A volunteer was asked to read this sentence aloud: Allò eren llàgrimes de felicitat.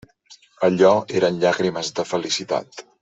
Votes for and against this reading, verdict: 3, 0, accepted